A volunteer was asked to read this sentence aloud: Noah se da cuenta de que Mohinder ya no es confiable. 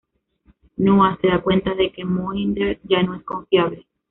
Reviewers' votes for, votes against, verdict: 2, 0, accepted